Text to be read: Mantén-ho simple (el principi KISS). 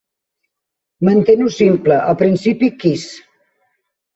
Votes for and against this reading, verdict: 2, 0, accepted